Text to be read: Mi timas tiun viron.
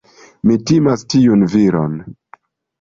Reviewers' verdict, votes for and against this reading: accepted, 2, 0